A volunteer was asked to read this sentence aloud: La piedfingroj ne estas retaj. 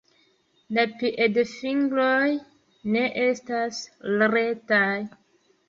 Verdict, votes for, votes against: accepted, 2, 0